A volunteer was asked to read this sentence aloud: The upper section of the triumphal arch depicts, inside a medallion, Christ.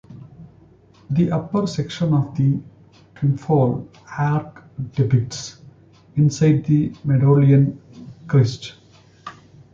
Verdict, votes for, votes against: rejected, 0, 2